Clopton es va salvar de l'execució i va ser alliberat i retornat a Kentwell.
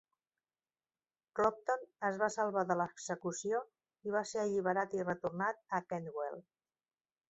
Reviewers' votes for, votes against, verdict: 1, 2, rejected